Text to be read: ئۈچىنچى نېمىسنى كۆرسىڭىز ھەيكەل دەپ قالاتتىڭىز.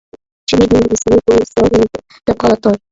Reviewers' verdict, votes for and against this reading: rejected, 0, 2